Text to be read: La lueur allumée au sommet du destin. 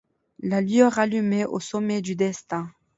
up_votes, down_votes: 2, 0